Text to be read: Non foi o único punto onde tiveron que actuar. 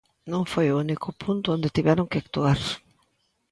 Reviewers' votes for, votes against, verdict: 2, 0, accepted